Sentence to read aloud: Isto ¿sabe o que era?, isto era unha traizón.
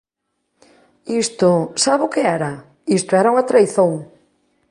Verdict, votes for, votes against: accepted, 2, 0